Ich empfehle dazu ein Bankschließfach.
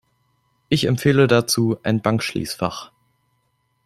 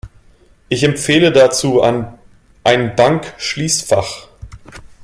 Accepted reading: first